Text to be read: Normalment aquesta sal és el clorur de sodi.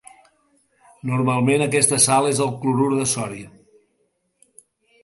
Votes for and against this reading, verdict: 1, 2, rejected